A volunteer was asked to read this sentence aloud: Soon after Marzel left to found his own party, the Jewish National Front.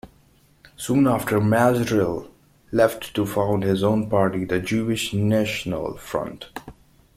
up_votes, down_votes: 2, 0